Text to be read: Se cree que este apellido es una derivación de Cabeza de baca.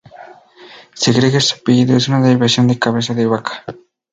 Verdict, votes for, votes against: rejected, 0, 2